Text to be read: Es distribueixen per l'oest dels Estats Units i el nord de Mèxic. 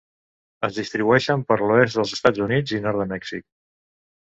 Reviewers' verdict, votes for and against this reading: rejected, 1, 2